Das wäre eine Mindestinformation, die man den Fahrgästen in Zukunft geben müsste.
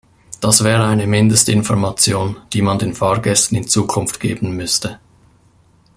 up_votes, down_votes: 2, 1